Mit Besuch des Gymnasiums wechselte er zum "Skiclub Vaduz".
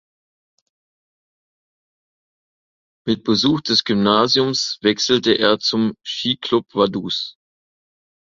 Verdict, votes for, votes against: accepted, 2, 0